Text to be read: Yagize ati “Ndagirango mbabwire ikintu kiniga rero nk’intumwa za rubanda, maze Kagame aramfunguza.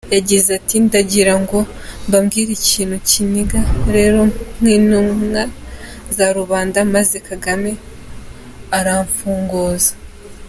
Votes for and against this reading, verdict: 2, 0, accepted